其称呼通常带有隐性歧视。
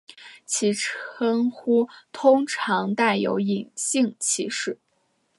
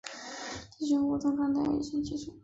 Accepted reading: first